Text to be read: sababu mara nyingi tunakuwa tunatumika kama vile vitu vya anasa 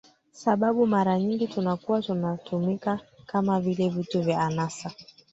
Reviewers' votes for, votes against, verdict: 2, 1, accepted